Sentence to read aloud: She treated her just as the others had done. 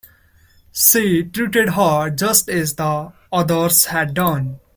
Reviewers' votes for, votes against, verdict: 0, 2, rejected